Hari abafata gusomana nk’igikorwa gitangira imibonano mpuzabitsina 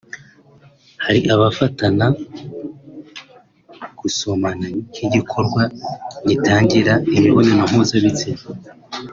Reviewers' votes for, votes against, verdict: 1, 2, rejected